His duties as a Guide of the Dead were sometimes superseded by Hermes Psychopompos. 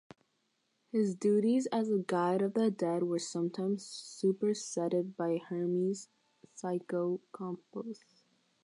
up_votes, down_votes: 0, 6